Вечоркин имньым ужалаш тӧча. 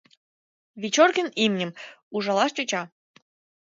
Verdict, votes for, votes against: accepted, 2, 0